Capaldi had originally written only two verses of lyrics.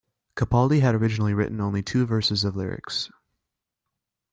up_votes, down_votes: 2, 0